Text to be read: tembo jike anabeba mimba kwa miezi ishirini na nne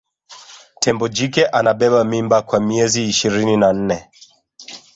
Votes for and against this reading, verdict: 2, 0, accepted